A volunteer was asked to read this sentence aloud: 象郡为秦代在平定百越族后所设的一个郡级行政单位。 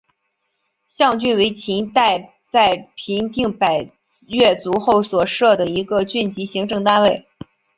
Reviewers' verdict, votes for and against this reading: accepted, 3, 0